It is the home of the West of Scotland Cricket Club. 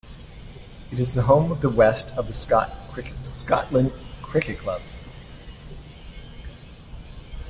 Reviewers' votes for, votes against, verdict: 0, 2, rejected